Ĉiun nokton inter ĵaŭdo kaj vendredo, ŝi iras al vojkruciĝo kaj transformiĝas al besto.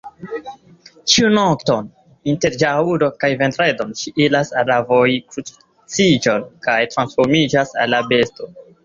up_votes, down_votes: 2, 1